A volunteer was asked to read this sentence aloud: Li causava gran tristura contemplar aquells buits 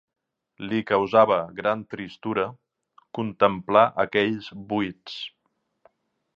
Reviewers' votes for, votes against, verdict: 6, 1, accepted